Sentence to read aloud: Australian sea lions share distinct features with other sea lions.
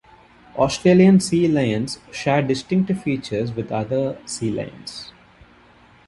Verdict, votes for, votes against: rejected, 1, 2